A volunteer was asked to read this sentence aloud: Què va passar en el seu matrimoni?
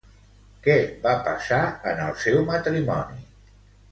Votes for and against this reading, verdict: 1, 2, rejected